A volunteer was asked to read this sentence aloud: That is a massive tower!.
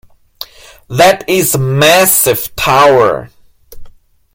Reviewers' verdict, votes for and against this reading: rejected, 0, 2